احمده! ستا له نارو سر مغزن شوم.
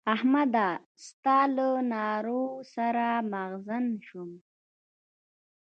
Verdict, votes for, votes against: rejected, 1, 2